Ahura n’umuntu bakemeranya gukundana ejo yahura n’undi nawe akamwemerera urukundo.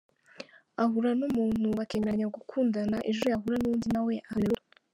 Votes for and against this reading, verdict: 0, 2, rejected